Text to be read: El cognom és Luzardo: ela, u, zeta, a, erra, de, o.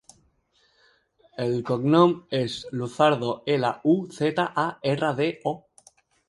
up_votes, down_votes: 0, 2